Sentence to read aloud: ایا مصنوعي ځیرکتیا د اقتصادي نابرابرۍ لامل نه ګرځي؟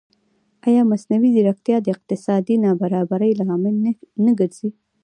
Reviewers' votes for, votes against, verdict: 1, 2, rejected